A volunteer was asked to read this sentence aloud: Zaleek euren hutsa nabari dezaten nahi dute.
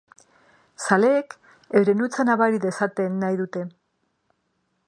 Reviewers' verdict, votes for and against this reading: rejected, 0, 3